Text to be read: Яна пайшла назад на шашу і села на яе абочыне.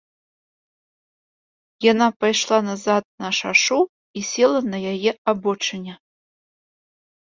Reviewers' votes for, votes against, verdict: 2, 0, accepted